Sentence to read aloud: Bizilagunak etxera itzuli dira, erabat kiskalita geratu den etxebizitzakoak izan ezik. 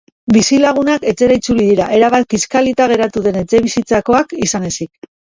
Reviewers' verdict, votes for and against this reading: rejected, 1, 2